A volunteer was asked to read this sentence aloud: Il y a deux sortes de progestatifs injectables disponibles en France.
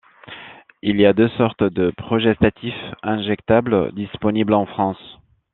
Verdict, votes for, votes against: accepted, 2, 0